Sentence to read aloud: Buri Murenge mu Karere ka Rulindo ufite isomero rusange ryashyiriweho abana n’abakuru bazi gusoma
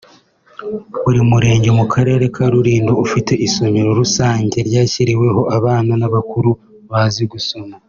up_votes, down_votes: 2, 0